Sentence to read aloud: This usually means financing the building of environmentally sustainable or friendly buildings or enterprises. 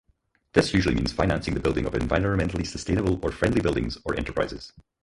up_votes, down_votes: 0, 4